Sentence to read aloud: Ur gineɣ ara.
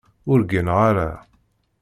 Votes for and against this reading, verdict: 2, 0, accepted